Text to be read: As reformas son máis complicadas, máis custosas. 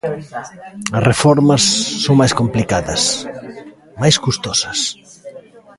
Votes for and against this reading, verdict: 0, 2, rejected